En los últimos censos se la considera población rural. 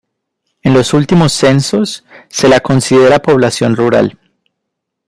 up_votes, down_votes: 2, 0